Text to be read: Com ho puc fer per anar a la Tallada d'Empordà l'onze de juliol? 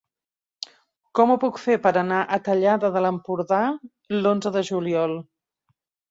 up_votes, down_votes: 0, 2